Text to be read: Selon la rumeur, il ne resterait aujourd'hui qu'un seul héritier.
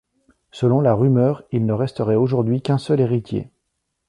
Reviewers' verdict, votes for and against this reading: accepted, 2, 0